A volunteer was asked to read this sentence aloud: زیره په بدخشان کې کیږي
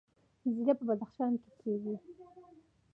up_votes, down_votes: 1, 2